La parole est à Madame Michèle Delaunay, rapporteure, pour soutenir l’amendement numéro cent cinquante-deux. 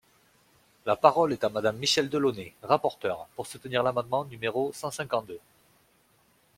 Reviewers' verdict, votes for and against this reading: accepted, 2, 0